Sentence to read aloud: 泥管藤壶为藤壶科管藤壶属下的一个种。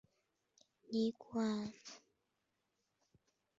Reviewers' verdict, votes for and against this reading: rejected, 1, 2